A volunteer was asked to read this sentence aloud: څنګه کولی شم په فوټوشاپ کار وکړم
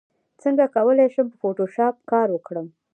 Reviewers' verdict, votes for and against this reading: rejected, 1, 2